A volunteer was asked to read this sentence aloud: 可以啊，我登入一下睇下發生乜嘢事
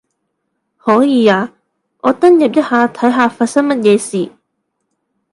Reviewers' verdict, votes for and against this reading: accepted, 2, 0